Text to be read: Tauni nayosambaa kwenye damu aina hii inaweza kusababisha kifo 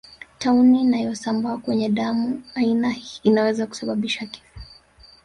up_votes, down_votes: 1, 2